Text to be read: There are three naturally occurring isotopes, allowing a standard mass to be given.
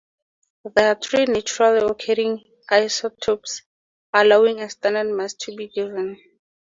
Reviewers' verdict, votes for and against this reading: rejected, 0, 4